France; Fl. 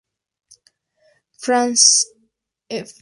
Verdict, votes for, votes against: rejected, 0, 2